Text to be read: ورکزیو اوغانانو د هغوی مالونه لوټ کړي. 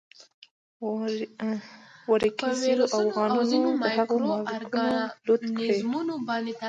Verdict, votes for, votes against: rejected, 0, 2